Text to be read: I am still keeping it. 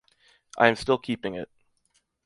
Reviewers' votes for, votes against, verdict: 2, 0, accepted